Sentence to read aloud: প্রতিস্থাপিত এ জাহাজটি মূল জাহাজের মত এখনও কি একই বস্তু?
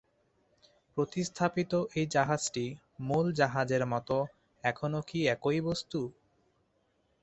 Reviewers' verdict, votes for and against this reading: accepted, 2, 0